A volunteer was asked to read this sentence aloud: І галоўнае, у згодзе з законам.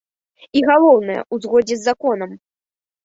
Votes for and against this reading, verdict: 2, 0, accepted